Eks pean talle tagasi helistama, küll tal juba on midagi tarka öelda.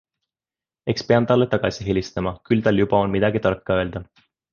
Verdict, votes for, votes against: accepted, 3, 0